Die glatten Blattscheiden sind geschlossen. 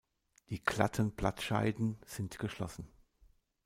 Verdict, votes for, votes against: rejected, 1, 2